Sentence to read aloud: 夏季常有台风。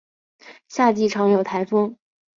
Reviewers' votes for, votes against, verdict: 6, 0, accepted